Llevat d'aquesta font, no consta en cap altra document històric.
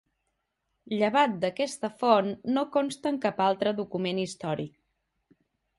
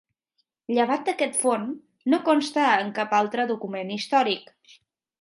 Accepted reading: first